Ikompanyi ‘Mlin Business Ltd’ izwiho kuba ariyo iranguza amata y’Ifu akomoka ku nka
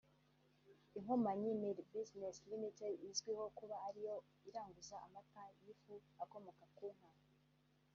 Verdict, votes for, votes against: rejected, 0, 2